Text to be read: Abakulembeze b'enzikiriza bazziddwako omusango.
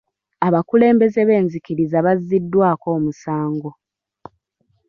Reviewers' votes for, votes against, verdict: 0, 2, rejected